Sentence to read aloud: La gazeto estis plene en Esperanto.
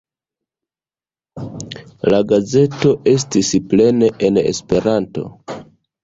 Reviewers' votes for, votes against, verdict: 2, 0, accepted